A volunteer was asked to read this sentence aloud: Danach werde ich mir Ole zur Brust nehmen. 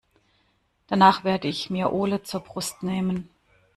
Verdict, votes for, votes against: accepted, 2, 0